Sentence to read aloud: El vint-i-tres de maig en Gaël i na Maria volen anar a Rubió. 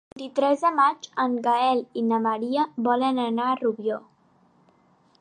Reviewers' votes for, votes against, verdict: 0, 2, rejected